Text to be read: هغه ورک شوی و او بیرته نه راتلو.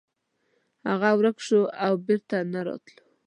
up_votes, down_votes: 0, 2